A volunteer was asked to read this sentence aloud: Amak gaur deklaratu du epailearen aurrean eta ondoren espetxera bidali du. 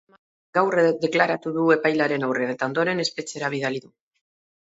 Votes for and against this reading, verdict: 0, 4, rejected